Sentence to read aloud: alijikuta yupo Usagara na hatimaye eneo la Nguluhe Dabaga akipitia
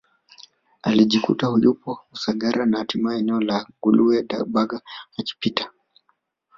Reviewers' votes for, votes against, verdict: 1, 2, rejected